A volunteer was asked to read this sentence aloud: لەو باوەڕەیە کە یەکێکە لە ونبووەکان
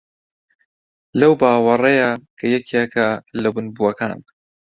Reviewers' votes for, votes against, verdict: 2, 0, accepted